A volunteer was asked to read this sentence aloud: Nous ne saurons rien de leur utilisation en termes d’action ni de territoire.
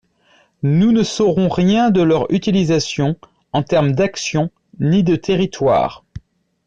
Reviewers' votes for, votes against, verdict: 2, 0, accepted